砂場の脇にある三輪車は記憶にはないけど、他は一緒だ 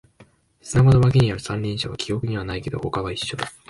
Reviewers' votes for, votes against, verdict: 4, 5, rejected